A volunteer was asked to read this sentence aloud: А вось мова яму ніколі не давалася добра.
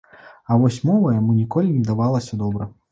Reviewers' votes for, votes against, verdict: 2, 0, accepted